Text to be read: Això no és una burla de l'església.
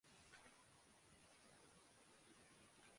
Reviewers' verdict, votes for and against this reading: rejected, 0, 2